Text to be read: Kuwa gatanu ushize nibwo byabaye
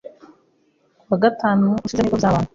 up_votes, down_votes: 0, 2